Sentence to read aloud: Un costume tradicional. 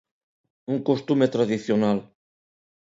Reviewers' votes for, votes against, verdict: 2, 0, accepted